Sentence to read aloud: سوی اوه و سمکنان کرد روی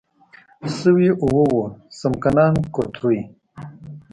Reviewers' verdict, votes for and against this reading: rejected, 1, 2